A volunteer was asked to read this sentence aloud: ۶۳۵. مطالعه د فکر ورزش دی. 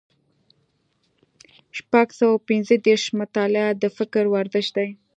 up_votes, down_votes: 0, 2